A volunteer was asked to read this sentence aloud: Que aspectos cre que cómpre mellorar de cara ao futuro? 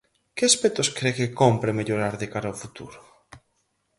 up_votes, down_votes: 4, 0